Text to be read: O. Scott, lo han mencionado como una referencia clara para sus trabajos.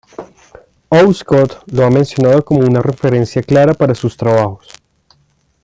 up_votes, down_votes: 1, 2